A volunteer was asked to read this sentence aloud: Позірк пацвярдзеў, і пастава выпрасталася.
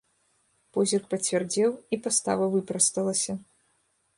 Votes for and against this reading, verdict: 2, 0, accepted